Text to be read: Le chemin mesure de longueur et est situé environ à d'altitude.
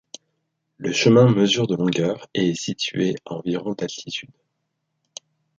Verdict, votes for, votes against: rejected, 1, 2